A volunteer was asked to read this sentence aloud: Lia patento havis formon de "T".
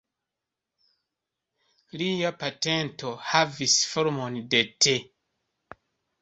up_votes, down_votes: 1, 2